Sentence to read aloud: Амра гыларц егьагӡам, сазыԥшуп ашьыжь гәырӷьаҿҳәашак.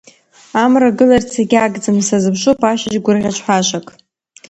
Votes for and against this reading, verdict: 2, 1, accepted